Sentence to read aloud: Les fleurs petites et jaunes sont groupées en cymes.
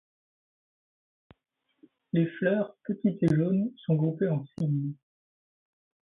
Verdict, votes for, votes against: accepted, 2, 0